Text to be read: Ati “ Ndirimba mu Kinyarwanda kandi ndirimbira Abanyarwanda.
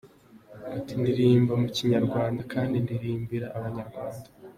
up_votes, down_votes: 2, 1